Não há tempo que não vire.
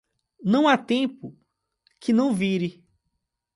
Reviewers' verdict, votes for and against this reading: accepted, 2, 0